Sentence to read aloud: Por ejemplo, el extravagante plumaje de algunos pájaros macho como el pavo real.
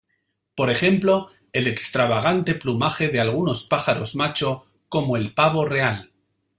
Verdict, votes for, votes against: accepted, 2, 0